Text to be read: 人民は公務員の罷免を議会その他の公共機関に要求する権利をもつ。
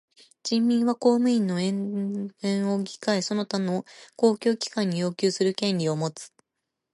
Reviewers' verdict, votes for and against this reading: accepted, 2, 0